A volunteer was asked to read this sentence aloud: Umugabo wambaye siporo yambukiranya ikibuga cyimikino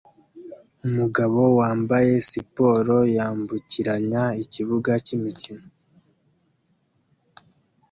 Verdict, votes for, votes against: accepted, 2, 0